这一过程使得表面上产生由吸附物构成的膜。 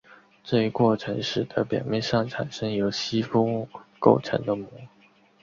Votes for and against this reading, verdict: 3, 0, accepted